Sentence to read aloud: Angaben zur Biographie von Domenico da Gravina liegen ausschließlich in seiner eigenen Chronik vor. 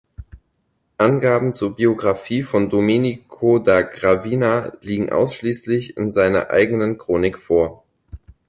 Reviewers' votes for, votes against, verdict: 4, 0, accepted